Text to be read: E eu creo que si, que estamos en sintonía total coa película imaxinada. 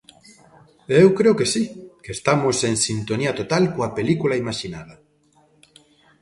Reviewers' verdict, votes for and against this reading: rejected, 1, 2